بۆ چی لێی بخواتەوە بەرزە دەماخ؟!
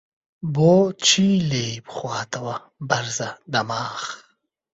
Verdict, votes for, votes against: rejected, 0, 2